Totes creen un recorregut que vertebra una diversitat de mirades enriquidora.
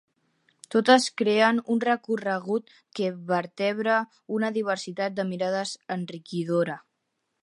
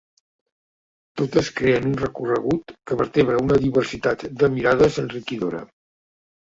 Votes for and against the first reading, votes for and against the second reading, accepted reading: 4, 0, 1, 2, first